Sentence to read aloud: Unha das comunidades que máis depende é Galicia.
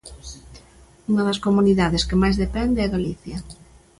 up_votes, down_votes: 2, 0